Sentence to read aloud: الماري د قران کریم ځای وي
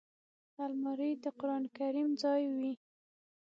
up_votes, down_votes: 6, 0